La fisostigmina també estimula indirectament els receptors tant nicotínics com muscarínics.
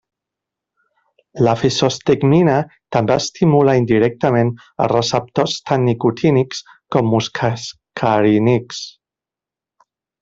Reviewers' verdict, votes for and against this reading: rejected, 0, 2